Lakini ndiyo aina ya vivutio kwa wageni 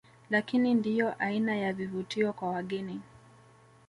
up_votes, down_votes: 0, 2